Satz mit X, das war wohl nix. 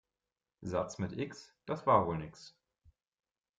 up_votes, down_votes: 2, 0